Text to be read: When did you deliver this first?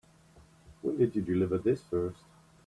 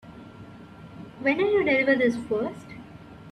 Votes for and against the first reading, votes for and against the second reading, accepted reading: 2, 0, 0, 2, first